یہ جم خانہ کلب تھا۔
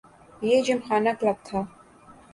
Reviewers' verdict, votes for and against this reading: accepted, 2, 0